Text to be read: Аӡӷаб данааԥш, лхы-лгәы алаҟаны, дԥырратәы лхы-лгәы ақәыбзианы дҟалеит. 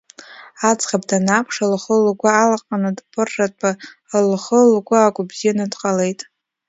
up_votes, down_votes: 2, 0